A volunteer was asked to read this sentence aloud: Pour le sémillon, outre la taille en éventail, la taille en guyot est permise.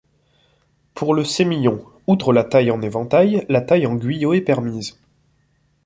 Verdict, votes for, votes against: accepted, 2, 0